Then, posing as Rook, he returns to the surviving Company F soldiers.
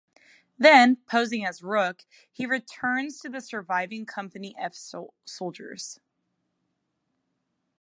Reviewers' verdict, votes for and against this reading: rejected, 1, 2